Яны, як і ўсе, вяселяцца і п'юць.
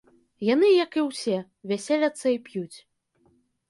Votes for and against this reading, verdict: 2, 1, accepted